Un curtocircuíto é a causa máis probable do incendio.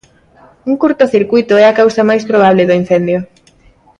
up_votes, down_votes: 2, 0